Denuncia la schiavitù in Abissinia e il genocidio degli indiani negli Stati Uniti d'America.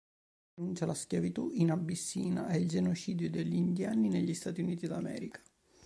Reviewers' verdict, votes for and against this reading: rejected, 0, 2